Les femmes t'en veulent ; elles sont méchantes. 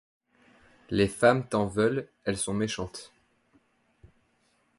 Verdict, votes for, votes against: accepted, 2, 0